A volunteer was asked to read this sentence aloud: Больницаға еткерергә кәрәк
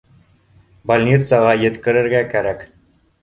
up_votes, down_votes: 2, 0